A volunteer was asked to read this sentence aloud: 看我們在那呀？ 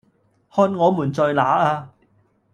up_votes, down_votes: 1, 2